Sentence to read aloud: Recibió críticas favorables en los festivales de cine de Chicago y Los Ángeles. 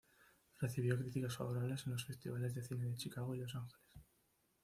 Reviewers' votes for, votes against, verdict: 2, 1, accepted